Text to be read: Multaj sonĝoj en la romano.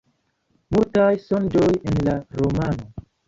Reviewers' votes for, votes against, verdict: 2, 1, accepted